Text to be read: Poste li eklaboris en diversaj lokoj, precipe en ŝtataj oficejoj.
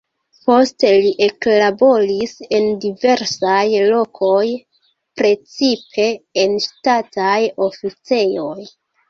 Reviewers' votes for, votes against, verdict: 1, 2, rejected